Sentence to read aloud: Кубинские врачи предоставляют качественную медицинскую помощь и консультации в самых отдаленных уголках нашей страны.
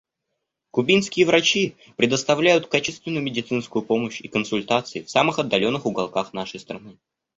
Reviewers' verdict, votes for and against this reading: accepted, 2, 0